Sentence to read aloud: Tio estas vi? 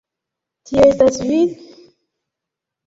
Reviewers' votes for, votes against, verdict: 2, 0, accepted